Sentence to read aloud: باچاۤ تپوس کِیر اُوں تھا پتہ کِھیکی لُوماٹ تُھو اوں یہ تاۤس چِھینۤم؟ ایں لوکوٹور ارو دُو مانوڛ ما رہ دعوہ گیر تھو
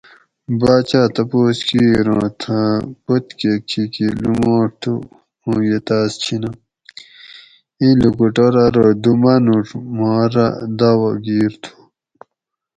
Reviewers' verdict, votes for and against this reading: rejected, 2, 2